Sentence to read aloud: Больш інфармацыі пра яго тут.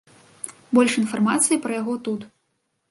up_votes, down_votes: 2, 0